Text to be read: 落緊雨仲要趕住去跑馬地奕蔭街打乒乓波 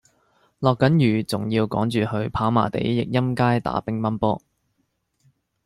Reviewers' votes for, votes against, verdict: 2, 0, accepted